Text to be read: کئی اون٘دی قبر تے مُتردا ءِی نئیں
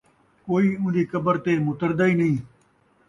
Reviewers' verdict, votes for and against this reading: accepted, 2, 0